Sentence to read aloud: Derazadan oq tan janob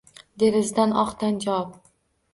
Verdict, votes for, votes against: accepted, 2, 0